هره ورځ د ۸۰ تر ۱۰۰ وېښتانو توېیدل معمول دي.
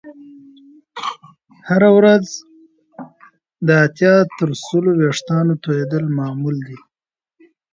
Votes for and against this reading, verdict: 0, 2, rejected